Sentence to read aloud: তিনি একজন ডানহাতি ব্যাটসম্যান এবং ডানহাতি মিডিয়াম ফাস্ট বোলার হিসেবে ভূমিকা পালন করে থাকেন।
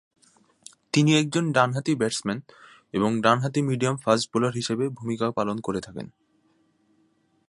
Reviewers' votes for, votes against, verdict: 3, 0, accepted